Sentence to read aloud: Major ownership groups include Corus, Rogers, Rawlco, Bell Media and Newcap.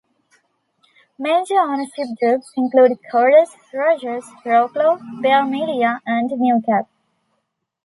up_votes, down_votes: 2, 0